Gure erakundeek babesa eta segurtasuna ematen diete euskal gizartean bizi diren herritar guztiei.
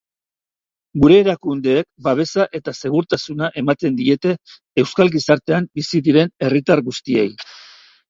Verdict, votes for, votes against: accepted, 2, 0